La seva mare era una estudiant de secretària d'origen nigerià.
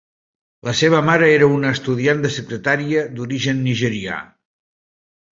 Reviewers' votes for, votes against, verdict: 3, 0, accepted